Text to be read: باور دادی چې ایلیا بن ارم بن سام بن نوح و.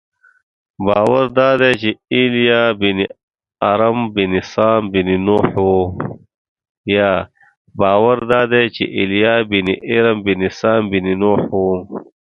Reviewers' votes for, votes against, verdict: 1, 2, rejected